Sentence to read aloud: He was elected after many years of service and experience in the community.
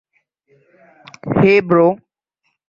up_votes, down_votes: 0, 2